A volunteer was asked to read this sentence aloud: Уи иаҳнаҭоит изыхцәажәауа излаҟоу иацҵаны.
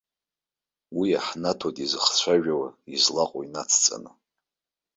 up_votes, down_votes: 1, 2